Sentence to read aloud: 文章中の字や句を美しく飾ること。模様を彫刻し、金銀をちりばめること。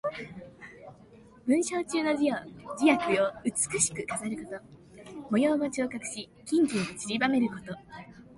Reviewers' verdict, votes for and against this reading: accepted, 2, 0